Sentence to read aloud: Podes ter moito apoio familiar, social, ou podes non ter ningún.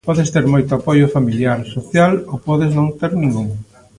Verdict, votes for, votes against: accepted, 2, 0